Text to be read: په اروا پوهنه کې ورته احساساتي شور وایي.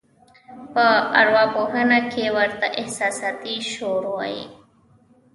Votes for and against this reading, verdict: 2, 0, accepted